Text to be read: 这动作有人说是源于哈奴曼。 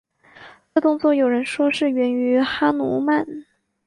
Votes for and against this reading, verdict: 3, 0, accepted